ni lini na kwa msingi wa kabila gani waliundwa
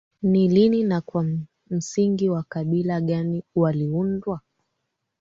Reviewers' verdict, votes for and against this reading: rejected, 2, 3